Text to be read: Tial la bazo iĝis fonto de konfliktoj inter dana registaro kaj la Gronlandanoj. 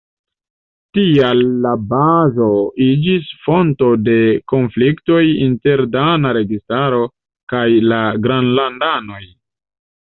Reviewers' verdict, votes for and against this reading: rejected, 1, 2